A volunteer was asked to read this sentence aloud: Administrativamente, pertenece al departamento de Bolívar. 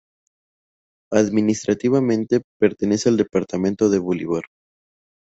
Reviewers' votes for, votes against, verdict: 0, 2, rejected